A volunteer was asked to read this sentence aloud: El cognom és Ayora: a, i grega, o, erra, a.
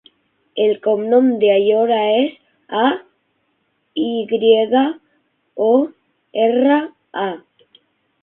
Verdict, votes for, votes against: rejected, 0, 6